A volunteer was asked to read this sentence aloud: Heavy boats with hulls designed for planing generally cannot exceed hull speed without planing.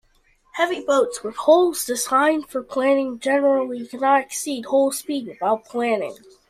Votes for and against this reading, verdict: 1, 2, rejected